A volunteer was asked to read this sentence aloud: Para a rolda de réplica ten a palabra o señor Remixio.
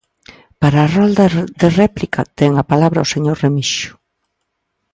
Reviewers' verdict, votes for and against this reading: rejected, 0, 2